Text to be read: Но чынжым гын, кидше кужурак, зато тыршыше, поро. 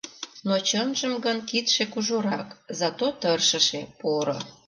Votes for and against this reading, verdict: 2, 0, accepted